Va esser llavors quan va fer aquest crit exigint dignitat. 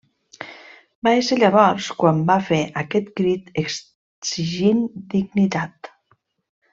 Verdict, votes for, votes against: rejected, 1, 2